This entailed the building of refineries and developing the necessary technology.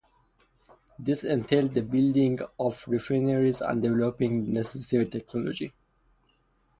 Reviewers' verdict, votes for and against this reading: rejected, 0, 2